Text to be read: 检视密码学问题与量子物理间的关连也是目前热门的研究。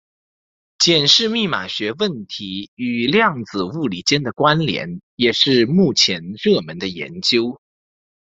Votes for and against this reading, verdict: 2, 0, accepted